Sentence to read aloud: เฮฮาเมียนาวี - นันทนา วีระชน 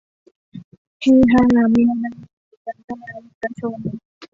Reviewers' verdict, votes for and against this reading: rejected, 0, 2